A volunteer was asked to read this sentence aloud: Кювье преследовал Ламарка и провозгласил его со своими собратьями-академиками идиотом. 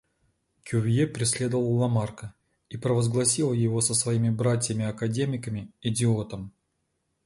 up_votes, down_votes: 1, 2